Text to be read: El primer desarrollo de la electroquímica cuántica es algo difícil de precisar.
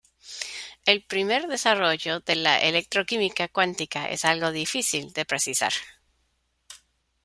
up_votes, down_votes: 2, 0